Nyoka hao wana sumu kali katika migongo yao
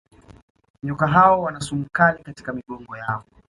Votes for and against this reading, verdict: 2, 1, accepted